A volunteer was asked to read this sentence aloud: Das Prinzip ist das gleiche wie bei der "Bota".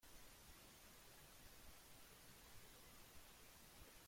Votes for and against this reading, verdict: 0, 2, rejected